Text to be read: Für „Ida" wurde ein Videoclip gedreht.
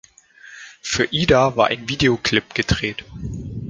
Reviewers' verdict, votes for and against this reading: rejected, 1, 2